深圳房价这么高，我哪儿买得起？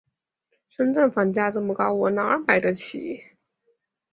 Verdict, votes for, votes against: accepted, 5, 0